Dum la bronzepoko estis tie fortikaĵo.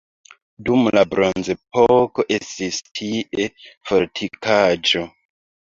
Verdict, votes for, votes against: accepted, 2, 1